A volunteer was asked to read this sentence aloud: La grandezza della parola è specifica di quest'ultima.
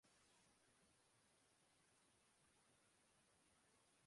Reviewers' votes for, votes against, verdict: 0, 2, rejected